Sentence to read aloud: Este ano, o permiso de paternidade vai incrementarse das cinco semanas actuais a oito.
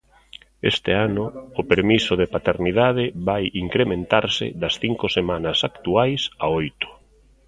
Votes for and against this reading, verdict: 1, 2, rejected